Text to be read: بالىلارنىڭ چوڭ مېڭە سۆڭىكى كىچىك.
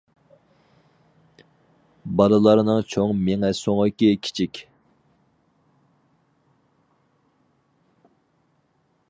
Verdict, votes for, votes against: accepted, 4, 0